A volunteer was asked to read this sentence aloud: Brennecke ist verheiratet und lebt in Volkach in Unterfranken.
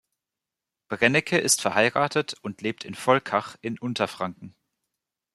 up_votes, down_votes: 2, 0